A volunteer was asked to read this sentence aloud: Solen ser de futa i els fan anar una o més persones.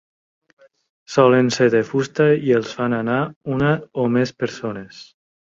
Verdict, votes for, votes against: rejected, 0, 2